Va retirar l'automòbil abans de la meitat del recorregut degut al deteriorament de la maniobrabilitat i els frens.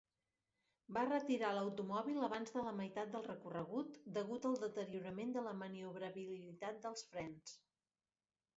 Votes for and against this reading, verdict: 0, 4, rejected